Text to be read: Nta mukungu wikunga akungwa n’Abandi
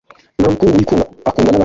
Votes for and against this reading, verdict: 1, 2, rejected